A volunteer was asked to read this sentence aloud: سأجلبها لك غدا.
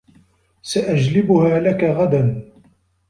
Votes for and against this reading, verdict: 2, 0, accepted